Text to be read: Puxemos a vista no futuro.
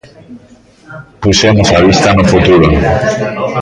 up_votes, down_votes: 0, 2